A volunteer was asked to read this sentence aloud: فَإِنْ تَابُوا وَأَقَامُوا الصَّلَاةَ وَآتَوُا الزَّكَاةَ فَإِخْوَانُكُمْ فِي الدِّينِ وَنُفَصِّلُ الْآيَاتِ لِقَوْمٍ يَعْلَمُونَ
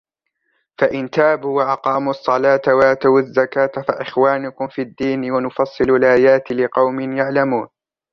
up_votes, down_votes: 2, 1